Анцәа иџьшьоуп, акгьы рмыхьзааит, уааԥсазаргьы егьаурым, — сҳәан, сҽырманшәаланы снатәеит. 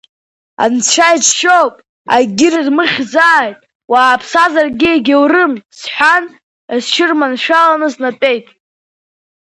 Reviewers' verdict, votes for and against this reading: accepted, 2, 1